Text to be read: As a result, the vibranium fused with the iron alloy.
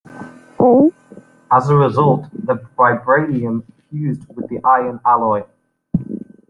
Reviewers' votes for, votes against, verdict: 1, 3, rejected